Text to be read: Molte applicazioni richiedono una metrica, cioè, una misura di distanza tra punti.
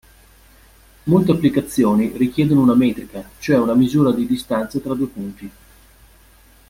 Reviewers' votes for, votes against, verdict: 0, 2, rejected